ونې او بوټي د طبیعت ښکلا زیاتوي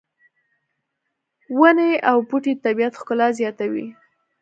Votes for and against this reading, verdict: 2, 0, accepted